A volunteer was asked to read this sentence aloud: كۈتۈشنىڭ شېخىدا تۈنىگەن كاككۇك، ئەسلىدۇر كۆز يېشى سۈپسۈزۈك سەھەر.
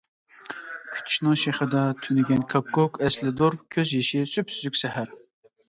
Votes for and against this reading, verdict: 2, 0, accepted